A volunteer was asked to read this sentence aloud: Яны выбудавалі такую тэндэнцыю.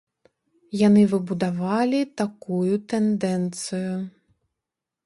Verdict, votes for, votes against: rejected, 0, 2